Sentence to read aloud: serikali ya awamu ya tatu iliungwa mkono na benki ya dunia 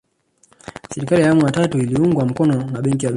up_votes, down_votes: 0, 2